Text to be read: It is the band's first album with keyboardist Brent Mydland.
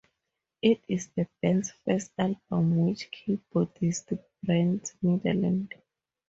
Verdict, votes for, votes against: rejected, 2, 2